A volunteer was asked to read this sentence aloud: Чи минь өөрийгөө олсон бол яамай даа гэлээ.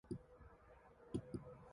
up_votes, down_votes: 0, 2